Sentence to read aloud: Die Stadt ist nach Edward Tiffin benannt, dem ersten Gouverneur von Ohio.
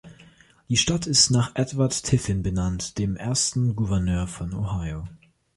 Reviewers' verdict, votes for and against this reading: accepted, 2, 0